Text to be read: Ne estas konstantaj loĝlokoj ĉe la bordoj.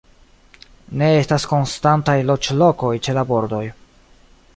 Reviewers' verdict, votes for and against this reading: accepted, 2, 0